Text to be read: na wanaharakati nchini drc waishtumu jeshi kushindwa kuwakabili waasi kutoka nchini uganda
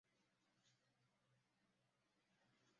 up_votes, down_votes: 0, 2